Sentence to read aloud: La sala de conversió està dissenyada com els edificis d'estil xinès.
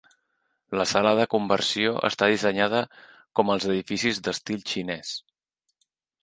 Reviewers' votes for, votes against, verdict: 3, 0, accepted